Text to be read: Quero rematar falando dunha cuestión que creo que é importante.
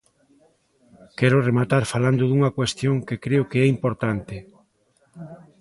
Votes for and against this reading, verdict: 1, 2, rejected